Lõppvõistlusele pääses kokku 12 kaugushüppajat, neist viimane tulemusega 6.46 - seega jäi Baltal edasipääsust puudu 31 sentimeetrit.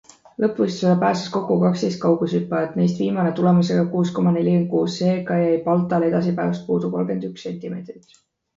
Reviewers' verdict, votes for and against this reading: rejected, 0, 2